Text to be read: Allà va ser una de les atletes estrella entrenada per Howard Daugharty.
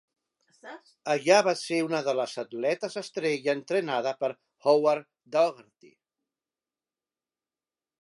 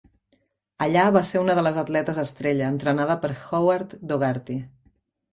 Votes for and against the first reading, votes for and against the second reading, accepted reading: 2, 0, 1, 2, first